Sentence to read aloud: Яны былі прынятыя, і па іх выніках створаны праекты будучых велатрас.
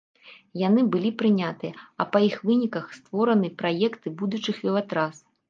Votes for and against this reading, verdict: 1, 2, rejected